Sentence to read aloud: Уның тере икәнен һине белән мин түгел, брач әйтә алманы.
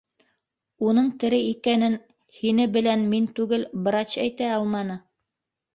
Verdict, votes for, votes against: rejected, 0, 2